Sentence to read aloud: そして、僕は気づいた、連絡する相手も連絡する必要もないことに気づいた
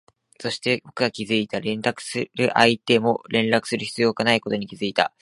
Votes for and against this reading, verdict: 1, 2, rejected